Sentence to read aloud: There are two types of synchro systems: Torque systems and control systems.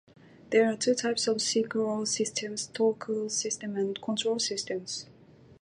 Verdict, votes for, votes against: rejected, 0, 2